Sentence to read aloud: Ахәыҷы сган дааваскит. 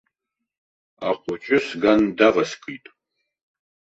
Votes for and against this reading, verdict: 0, 2, rejected